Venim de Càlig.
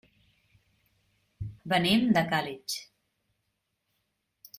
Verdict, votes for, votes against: rejected, 1, 2